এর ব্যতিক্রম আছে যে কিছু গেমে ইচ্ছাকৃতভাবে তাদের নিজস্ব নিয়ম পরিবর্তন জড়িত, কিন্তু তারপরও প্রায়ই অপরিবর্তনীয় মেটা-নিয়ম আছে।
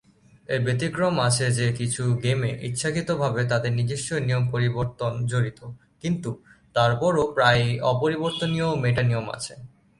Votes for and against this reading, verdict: 2, 0, accepted